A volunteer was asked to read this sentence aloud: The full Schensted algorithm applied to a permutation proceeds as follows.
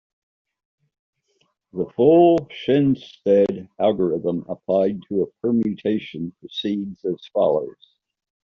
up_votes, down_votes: 0, 2